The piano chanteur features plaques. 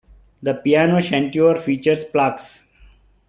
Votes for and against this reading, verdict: 2, 1, accepted